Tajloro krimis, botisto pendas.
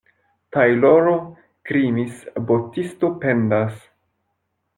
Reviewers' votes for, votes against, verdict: 2, 0, accepted